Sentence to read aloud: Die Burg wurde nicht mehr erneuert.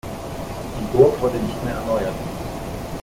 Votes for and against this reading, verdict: 1, 2, rejected